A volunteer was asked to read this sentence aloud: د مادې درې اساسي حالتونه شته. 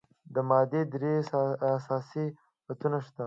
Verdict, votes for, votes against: accepted, 2, 1